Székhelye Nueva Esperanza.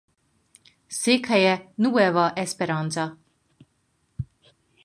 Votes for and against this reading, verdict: 4, 0, accepted